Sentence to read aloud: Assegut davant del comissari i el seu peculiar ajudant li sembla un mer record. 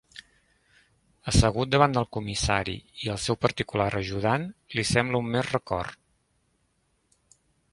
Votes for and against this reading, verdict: 1, 2, rejected